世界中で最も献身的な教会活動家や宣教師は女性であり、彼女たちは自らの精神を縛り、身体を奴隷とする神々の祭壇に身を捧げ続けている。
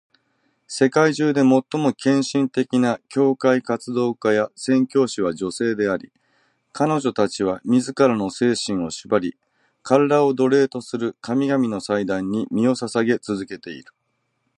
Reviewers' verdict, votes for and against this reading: accepted, 2, 0